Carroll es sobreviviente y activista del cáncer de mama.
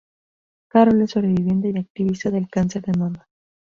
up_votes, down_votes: 2, 0